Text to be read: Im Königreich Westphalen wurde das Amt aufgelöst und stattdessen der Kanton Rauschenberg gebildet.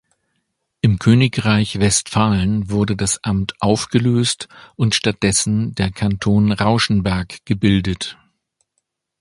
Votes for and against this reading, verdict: 2, 0, accepted